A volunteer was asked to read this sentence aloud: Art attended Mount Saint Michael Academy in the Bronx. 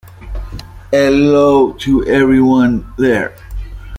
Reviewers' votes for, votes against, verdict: 0, 2, rejected